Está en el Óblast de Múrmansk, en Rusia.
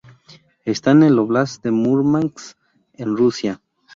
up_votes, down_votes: 2, 0